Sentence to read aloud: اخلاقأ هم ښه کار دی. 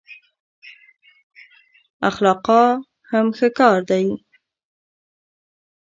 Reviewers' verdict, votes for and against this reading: rejected, 0, 2